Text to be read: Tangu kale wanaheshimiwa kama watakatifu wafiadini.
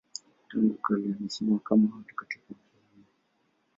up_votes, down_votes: 2, 0